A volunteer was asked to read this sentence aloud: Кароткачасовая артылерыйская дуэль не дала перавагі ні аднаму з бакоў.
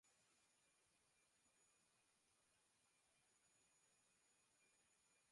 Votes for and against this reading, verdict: 0, 2, rejected